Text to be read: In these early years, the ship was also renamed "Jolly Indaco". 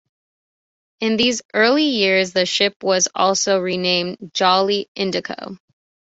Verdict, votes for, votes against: accepted, 2, 1